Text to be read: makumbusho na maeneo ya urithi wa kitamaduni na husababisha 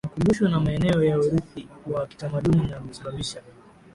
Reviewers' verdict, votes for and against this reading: accepted, 6, 2